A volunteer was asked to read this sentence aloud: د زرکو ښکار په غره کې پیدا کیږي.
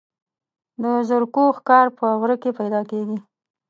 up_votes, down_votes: 0, 2